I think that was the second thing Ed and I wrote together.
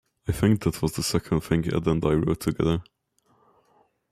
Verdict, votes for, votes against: rejected, 1, 2